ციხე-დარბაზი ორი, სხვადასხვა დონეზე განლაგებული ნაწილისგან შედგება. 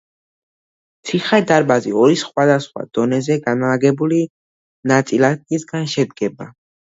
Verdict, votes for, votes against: rejected, 1, 2